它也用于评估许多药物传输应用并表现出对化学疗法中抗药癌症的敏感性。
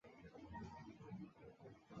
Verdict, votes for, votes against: rejected, 1, 3